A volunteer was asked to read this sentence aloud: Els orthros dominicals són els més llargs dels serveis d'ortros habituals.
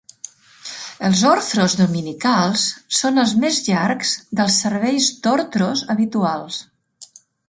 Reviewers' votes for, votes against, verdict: 2, 0, accepted